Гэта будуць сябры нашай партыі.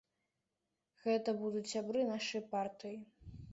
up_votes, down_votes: 2, 0